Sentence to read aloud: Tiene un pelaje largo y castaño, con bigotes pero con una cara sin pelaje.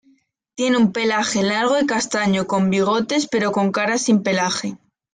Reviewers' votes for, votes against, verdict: 2, 0, accepted